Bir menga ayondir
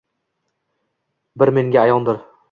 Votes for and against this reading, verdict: 2, 0, accepted